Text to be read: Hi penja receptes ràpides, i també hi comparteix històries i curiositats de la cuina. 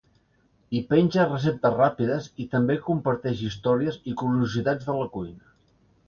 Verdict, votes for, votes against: accepted, 2, 1